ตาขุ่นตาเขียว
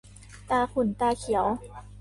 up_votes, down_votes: 2, 1